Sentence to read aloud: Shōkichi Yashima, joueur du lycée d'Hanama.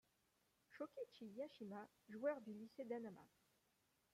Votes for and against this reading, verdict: 2, 1, accepted